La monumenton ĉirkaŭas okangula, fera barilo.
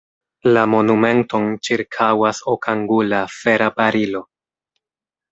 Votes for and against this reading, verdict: 2, 0, accepted